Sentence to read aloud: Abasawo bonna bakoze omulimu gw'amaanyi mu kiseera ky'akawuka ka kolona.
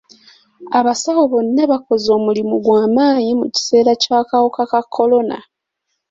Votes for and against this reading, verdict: 2, 0, accepted